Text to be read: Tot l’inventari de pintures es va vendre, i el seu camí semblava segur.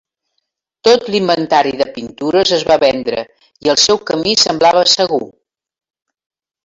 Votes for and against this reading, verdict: 4, 0, accepted